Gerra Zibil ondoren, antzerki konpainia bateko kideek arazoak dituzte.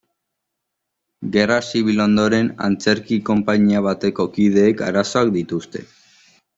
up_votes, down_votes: 2, 0